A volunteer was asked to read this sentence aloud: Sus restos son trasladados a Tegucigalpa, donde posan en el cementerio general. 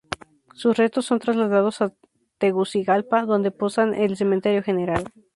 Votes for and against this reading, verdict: 2, 0, accepted